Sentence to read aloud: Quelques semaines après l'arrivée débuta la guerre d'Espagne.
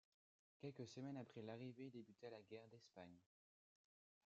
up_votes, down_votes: 2, 0